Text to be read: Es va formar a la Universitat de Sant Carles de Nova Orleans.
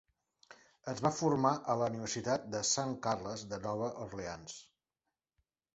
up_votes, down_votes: 2, 1